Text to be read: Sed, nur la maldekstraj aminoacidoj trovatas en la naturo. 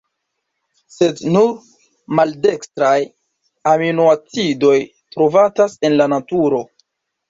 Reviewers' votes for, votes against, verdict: 1, 2, rejected